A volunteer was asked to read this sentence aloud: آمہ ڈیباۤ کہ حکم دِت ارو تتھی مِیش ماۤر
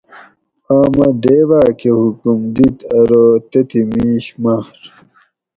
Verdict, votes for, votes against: rejected, 2, 2